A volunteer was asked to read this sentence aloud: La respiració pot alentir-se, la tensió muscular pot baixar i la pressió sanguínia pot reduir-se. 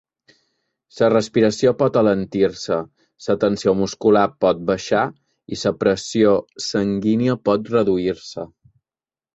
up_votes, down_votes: 0, 2